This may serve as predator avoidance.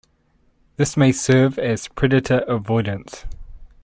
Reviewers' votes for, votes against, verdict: 1, 2, rejected